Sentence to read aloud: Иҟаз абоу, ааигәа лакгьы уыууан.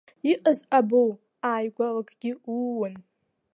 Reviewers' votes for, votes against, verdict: 2, 3, rejected